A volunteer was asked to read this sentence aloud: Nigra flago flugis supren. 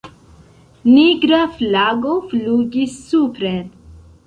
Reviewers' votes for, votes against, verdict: 0, 2, rejected